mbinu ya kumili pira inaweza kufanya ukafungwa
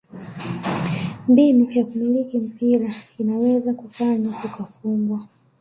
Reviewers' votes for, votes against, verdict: 1, 2, rejected